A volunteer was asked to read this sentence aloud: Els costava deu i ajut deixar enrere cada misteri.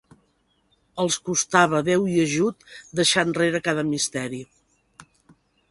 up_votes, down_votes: 3, 0